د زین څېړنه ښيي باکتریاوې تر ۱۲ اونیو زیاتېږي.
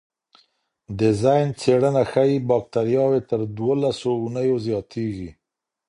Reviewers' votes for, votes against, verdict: 0, 2, rejected